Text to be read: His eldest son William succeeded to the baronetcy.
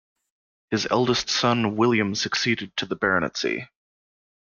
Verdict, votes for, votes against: accepted, 2, 0